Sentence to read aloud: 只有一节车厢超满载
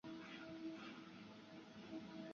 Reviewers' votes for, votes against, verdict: 0, 2, rejected